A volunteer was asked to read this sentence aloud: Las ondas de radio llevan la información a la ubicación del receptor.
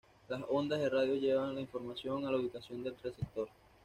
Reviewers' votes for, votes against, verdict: 1, 2, rejected